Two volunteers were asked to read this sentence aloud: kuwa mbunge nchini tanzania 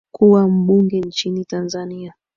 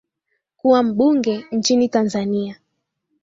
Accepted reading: second